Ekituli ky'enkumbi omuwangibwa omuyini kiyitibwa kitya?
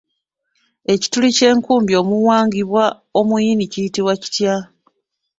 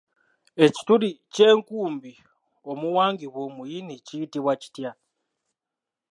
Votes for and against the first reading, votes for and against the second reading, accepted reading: 1, 2, 2, 1, second